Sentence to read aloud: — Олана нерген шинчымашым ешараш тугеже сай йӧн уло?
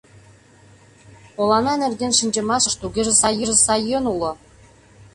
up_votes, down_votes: 0, 2